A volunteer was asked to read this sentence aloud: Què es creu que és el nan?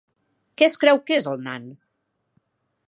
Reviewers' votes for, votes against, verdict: 2, 0, accepted